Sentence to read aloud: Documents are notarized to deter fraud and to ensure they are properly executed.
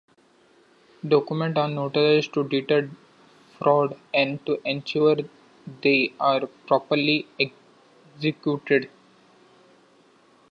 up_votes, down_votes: 2, 0